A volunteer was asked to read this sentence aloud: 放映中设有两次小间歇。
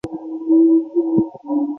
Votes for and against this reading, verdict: 0, 2, rejected